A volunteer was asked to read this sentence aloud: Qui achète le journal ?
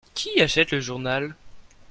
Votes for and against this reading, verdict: 2, 0, accepted